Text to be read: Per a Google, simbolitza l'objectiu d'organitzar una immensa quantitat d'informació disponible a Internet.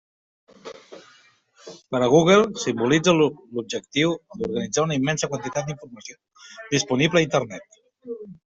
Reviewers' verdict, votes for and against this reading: rejected, 0, 2